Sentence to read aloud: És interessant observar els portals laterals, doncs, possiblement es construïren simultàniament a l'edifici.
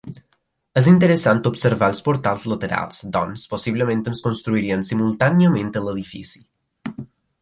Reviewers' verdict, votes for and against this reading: rejected, 2, 3